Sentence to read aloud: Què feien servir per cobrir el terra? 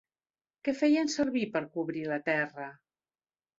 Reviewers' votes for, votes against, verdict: 1, 2, rejected